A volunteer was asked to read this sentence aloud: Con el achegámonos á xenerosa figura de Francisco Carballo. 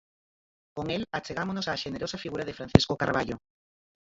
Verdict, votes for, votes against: rejected, 0, 4